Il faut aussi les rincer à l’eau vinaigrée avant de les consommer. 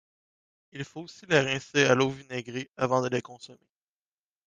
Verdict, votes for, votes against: rejected, 1, 2